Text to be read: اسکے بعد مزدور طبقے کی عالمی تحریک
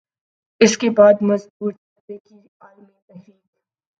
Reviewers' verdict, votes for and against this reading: rejected, 0, 2